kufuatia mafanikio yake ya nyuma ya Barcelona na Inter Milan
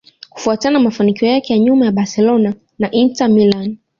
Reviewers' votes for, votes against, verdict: 2, 0, accepted